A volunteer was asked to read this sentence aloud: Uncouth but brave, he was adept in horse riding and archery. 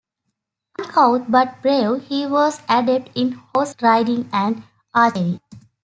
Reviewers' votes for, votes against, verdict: 0, 2, rejected